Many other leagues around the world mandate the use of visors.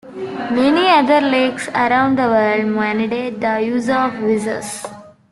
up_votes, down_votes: 2, 0